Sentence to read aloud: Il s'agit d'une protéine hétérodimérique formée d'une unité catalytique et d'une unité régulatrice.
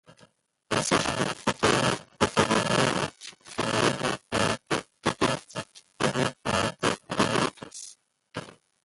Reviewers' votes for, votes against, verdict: 0, 2, rejected